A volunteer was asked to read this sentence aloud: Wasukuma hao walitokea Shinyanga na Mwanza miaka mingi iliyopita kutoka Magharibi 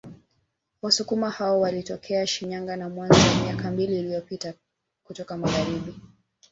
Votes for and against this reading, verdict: 0, 2, rejected